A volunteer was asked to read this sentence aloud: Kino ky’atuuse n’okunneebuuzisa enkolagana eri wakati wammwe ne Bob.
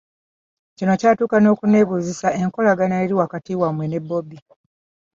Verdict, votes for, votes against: rejected, 0, 2